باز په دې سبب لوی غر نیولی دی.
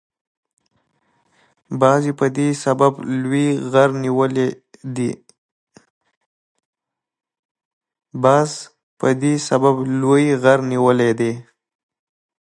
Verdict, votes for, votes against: accepted, 2, 0